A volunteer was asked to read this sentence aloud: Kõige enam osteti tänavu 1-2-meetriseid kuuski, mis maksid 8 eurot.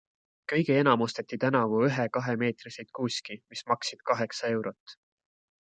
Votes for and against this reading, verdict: 0, 2, rejected